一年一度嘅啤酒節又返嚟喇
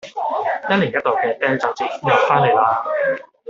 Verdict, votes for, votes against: accepted, 2, 0